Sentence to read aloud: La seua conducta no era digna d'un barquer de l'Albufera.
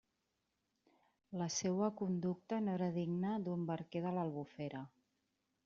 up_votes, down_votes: 2, 0